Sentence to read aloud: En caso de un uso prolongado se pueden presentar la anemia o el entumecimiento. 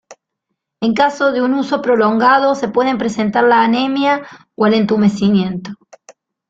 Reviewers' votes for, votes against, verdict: 2, 0, accepted